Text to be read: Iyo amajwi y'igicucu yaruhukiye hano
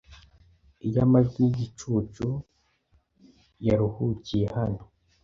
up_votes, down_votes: 2, 0